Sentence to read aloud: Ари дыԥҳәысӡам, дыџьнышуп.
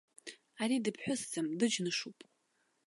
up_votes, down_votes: 1, 2